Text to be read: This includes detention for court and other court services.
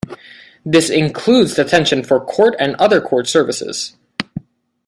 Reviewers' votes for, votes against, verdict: 2, 0, accepted